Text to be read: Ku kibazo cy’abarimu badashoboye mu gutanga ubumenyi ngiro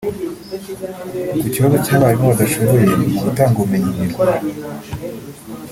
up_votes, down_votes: 1, 2